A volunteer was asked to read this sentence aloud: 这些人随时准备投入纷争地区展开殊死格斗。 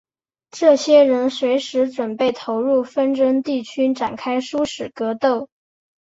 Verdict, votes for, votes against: accepted, 2, 1